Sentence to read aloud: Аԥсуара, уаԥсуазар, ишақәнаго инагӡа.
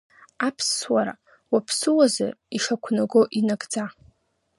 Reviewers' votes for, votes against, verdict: 2, 0, accepted